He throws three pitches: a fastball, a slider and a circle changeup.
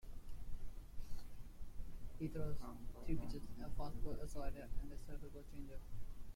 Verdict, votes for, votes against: rejected, 0, 2